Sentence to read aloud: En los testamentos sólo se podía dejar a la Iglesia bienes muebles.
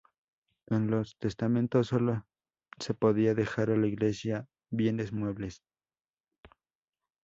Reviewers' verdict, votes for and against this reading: accepted, 2, 0